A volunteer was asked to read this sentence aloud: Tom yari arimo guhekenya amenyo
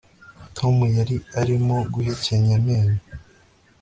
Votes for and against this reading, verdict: 2, 0, accepted